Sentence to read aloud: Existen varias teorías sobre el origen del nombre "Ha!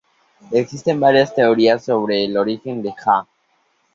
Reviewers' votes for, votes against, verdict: 0, 2, rejected